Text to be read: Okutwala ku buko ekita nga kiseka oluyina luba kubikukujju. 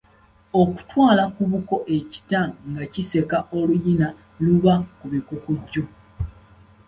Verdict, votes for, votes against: accepted, 2, 0